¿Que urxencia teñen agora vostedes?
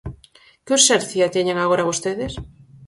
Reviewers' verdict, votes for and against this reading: accepted, 4, 2